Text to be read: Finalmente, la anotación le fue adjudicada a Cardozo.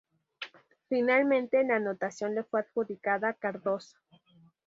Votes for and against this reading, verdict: 2, 2, rejected